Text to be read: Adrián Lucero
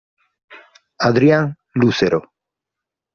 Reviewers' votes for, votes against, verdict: 2, 0, accepted